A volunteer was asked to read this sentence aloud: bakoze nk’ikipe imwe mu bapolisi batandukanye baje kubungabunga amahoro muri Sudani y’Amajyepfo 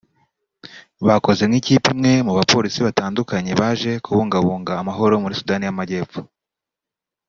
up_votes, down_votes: 2, 0